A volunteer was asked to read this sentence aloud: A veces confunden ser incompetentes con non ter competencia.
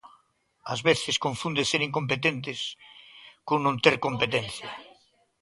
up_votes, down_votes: 2, 1